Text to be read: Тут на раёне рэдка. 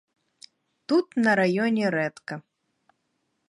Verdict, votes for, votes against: accepted, 2, 0